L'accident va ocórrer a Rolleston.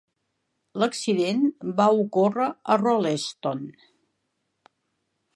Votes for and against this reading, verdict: 4, 0, accepted